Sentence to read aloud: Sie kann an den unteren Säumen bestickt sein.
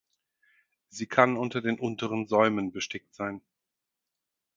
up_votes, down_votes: 0, 4